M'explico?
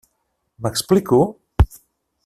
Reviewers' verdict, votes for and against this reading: accepted, 3, 0